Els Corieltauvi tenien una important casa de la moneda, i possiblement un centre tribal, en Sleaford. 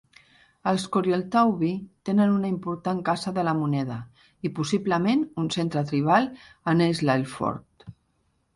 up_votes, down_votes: 1, 2